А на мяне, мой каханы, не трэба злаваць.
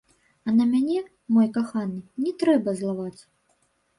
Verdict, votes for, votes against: rejected, 1, 2